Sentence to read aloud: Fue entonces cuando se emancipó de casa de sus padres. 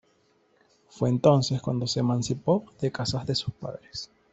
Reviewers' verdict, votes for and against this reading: accepted, 2, 0